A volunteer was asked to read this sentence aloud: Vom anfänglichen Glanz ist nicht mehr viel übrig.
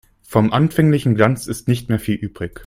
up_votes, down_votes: 2, 0